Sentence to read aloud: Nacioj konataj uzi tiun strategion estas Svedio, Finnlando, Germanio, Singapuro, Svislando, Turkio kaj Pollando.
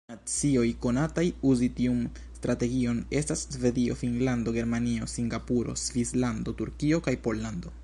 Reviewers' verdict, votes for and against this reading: rejected, 0, 2